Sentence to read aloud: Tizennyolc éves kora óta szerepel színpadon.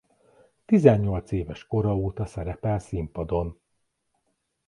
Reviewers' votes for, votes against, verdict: 2, 0, accepted